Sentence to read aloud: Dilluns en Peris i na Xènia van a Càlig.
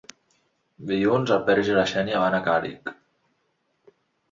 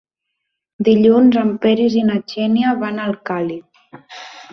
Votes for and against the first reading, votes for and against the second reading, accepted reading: 2, 0, 0, 2, first